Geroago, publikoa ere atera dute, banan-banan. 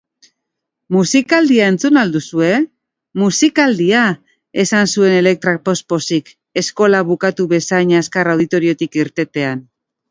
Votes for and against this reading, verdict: 0, 3, rejected